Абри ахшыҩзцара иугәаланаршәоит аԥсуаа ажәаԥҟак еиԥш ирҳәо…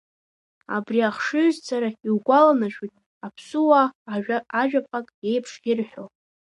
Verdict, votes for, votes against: rejected, 0, 2